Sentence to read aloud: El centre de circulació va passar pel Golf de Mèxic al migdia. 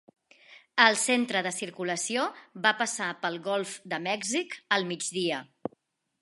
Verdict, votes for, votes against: accepted, 2, 0